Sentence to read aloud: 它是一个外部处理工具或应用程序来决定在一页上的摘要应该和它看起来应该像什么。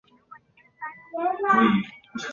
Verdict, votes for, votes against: rejected, 0, 2